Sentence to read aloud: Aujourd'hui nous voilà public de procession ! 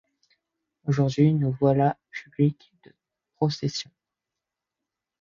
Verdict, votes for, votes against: rejected, 1, 2